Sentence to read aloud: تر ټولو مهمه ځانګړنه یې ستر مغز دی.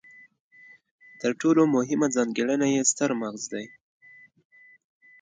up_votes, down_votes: 2, 0